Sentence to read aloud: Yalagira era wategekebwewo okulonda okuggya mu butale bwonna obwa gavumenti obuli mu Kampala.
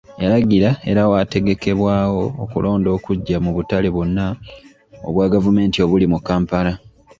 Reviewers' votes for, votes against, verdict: 0, 2, rejected